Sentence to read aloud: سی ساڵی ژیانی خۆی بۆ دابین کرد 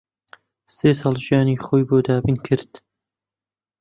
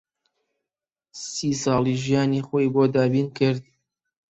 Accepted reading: second